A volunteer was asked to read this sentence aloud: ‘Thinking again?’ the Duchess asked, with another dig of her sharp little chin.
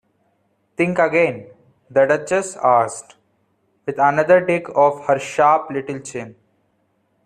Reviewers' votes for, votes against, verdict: 0, 2, rejected